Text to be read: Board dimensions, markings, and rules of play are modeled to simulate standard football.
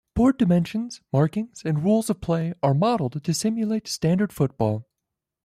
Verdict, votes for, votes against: accepted, 2, 0